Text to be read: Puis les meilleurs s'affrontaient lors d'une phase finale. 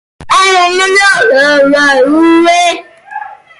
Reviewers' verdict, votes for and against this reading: rejected, 0, 2